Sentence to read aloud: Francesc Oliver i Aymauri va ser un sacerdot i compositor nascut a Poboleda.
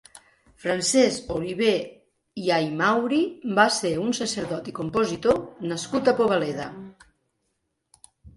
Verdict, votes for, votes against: rejected, 1, 2